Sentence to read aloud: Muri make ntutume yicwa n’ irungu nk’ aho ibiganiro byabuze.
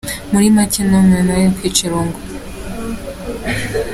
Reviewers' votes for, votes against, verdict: 0, 3, rejected